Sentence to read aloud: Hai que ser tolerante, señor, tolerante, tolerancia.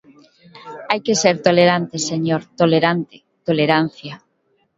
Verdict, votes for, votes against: rejected, 1, 2